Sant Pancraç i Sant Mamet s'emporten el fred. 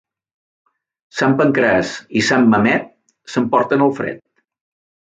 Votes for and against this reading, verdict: 2, 0, accepted